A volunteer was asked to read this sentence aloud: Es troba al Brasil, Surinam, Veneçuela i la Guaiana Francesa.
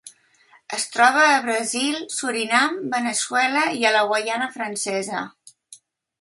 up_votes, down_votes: 1, 2